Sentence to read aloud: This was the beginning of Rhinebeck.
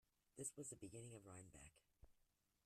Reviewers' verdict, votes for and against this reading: rejected, 0, 2